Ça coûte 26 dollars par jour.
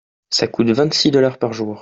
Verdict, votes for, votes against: rejected, 0, 2